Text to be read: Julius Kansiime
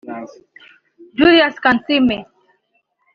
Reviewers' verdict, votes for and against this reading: accepted, 2, 0